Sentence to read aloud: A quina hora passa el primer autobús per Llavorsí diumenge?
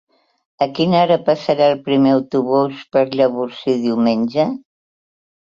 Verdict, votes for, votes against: accepted, 4, 2